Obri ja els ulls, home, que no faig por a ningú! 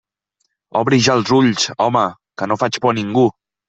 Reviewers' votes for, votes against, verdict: 2, 0, accepted